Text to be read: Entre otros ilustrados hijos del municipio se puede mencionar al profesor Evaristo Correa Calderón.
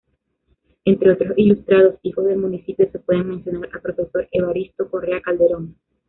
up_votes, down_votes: 1, 2